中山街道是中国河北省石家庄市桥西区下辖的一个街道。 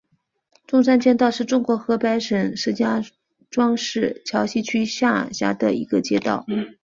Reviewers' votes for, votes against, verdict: 2, 1, accepted